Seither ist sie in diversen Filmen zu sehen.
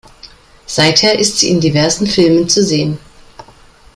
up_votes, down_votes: 2, 0